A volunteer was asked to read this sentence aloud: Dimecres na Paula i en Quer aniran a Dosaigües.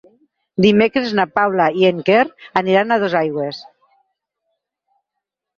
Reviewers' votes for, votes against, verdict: 6, 0, accepted